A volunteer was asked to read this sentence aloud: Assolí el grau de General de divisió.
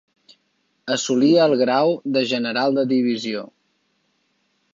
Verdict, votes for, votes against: accepted, 3, 0